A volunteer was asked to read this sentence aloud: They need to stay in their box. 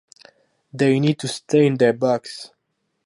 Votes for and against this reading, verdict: 0, 2, rejected